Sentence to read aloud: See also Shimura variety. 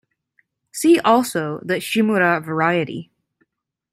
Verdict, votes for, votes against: rejected, 1, 2